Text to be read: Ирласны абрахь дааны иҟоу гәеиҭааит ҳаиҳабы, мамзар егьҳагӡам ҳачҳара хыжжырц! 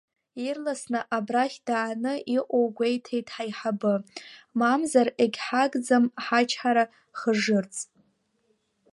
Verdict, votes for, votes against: rejected, 1, 2